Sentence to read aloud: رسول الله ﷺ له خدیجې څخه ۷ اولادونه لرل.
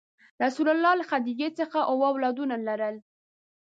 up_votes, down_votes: 0, 2